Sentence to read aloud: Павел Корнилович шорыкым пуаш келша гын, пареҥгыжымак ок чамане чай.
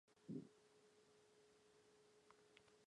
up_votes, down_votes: 1, 2